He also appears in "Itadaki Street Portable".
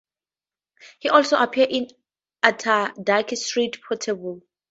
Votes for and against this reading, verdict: 0, 2, rejected